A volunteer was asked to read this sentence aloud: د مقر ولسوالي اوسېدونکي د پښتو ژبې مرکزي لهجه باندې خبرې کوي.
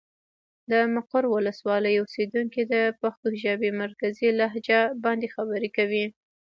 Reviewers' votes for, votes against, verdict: 1, 2, rejected